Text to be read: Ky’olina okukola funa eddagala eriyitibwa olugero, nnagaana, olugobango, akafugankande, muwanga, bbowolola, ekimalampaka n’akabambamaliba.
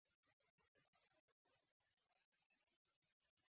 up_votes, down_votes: 1, 2